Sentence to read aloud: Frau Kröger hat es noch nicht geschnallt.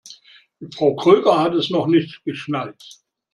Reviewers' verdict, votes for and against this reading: accepted, 2, 0